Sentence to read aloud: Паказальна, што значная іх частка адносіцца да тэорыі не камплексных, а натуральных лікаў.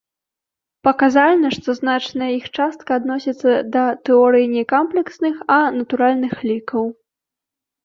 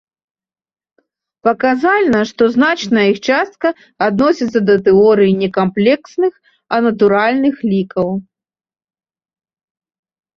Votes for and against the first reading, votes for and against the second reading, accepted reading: 2, 4, 2, 0, second